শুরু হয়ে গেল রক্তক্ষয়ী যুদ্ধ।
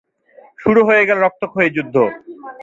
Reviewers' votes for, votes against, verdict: 2, 0, accepted